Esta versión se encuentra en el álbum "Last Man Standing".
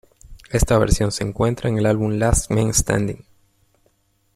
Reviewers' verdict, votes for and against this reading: accepted, 2, 0